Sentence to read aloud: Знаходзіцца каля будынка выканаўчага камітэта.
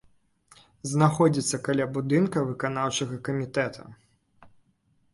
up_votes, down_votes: 3, 0